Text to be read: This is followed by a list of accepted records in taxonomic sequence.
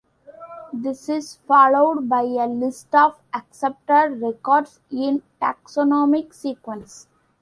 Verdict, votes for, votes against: accepted, 2, 1